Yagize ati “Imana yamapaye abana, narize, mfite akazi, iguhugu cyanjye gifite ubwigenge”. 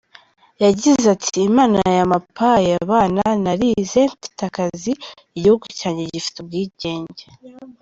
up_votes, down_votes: 2, 0